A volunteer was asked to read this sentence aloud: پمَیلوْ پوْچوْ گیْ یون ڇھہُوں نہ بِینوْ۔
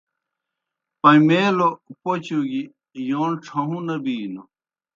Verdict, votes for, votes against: accepted, 2, 0